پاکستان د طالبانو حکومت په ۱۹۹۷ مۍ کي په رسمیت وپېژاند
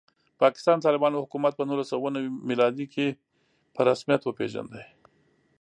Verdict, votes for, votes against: rejected, 0, 2